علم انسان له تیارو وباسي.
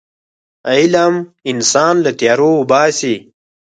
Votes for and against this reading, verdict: 4, 0, accepted